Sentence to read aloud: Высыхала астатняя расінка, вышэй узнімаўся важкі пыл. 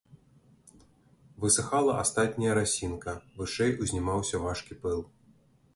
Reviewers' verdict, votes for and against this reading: accepted, 2, 0